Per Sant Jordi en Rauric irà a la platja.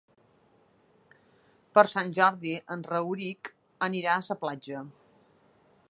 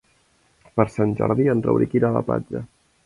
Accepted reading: second